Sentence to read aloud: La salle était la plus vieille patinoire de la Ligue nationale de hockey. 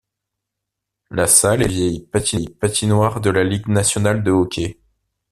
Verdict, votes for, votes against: rejected, 1, 2